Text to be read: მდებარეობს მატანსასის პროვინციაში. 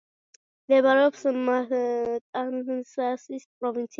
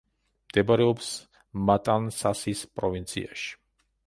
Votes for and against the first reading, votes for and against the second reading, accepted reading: 0, 2, 2, 0, second